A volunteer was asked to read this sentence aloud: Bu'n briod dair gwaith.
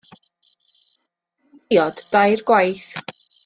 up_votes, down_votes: 0, 2